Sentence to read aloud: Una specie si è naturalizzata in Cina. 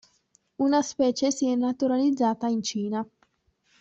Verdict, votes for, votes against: accepted, 2, 1